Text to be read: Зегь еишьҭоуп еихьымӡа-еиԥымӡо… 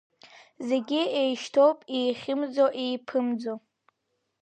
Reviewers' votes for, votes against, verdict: 3, 0, accepted